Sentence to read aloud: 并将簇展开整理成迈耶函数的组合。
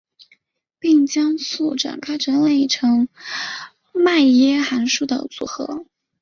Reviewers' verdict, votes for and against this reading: accepted, 3, 1